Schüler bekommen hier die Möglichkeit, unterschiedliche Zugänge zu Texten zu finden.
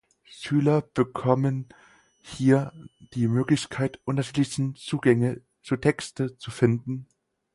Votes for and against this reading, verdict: 4, 2, accepted